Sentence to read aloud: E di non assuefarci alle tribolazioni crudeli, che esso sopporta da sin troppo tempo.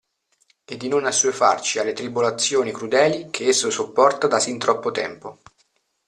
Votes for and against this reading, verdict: 2, 0, accepted